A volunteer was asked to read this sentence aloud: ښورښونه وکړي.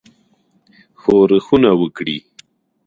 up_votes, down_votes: 1, 2